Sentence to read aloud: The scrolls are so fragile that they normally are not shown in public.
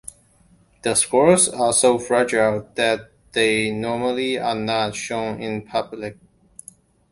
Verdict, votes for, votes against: accepted, 2, 0